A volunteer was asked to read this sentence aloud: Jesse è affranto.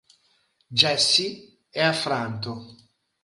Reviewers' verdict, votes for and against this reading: accepted, 3, 0